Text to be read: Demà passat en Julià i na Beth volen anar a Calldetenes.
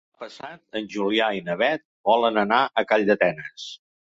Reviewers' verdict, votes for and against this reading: rejected, 1, 3